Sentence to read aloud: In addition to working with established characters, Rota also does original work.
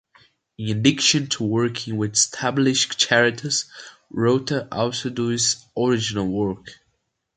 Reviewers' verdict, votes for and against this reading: rejected, 0, 2